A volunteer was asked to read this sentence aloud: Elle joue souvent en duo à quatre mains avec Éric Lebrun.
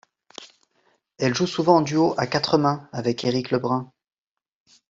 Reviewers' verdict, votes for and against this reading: accepted, 2, 0